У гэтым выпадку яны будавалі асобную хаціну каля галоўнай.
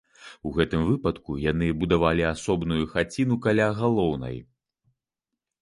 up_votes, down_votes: 2, 0